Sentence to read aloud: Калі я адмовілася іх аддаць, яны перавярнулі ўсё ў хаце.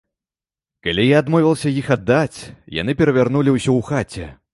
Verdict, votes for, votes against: rejected, 1, 2